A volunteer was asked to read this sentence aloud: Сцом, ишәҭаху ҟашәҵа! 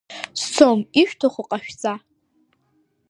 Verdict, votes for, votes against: accepted, 2, 0